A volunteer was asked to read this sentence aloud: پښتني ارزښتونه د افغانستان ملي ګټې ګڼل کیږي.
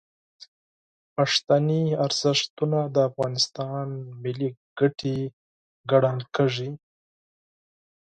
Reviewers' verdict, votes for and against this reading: accepted, 8, 0